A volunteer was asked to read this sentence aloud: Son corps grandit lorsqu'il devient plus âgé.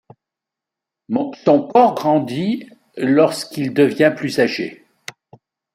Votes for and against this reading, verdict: 1, 2, rejected